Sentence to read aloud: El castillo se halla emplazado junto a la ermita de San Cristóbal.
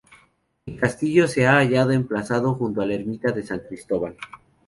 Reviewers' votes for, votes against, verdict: 0, 2, rejected